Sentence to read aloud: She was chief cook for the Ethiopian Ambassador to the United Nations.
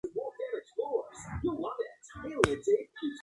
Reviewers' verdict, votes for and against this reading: rejected, 0, 2